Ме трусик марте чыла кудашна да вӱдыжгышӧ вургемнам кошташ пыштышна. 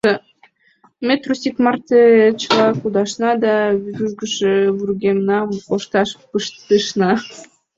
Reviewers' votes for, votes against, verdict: 0, 2, rejected